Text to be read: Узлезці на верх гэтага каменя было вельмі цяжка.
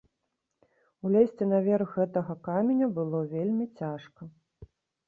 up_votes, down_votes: 0, 2